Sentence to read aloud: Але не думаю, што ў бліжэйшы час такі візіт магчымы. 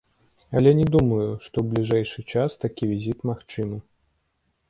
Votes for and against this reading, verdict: 2, 0, accepted